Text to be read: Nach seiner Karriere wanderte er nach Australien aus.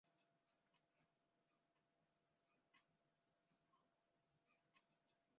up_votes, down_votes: 0, 2